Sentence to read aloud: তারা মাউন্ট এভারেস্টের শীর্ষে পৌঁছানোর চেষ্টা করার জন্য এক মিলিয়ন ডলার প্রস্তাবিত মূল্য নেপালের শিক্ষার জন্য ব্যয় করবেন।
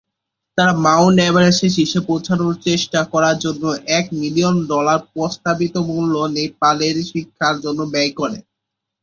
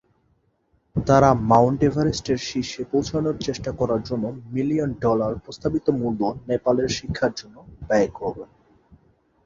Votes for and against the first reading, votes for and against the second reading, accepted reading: 2, 3, 3, 0, second